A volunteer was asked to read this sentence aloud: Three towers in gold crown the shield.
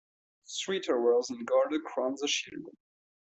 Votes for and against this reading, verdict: 0, 3, rejected